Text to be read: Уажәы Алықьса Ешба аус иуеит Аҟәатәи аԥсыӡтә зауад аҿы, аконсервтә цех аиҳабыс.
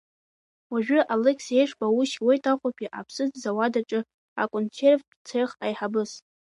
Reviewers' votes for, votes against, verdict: 2, 1, accepted